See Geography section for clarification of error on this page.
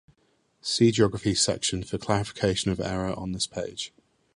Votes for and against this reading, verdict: 2, 0, accepted